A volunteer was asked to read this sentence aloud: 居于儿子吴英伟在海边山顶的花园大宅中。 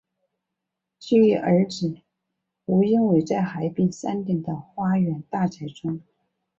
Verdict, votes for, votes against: accepted, 2, 0